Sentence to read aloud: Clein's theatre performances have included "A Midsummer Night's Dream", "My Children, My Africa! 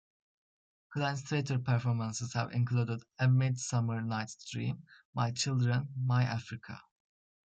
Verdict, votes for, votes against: rejected, 0, 2